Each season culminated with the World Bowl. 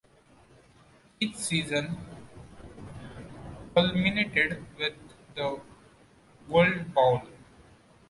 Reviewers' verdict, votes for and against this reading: accepted, 2, 1